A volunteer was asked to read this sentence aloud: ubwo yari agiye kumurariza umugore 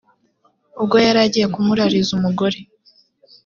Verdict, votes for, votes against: accepted, 2, 0